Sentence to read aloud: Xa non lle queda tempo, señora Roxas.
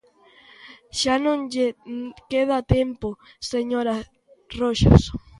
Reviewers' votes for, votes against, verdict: 0, 2, rejected